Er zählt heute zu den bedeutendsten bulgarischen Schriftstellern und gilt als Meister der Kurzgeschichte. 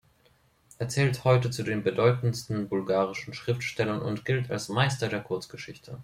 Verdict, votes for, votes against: accepted, 2, 0